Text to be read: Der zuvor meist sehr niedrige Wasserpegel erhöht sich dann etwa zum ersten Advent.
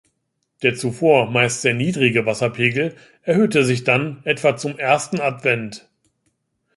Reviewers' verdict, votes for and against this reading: rejected, 0, 2